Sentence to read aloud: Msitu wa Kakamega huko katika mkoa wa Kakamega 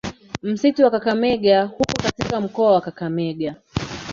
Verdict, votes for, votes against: rejected, 1, 2